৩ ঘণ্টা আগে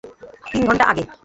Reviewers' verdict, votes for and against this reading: rejected, 0, 2